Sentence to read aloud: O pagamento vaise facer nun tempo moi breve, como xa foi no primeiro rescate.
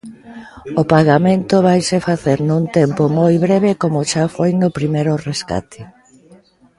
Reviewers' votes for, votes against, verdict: 1, 2, rejected